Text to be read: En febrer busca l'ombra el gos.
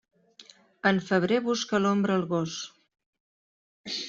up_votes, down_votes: 2, 0